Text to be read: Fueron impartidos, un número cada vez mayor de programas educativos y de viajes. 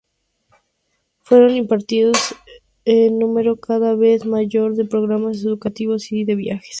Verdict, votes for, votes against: rejected, 0, 2